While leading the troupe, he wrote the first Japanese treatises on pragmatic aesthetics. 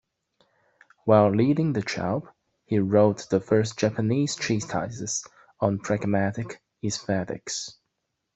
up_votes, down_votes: 1, 2